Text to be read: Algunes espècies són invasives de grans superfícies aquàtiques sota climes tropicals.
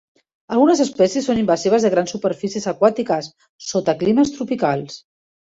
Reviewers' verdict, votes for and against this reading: accepted, 3, 0